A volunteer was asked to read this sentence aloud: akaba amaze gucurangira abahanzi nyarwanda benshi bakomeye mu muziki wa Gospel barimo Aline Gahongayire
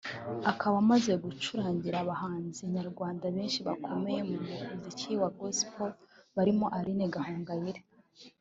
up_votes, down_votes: 1, 2